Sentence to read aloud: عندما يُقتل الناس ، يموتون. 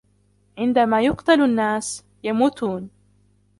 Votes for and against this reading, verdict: 1, 2, rejected